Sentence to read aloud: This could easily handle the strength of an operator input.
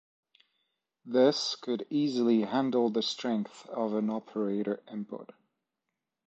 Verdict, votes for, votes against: rejected, 1, 2